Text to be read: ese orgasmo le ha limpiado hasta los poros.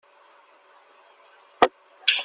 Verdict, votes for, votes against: rejected, 0, 2